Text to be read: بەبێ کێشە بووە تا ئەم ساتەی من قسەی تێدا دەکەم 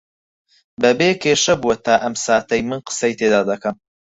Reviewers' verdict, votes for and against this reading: accepted, 4, 2